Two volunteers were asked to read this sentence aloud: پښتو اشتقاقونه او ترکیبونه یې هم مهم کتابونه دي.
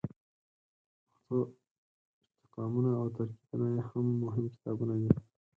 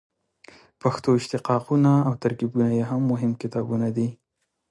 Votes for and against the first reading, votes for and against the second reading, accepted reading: 0, 4, 2, 0, second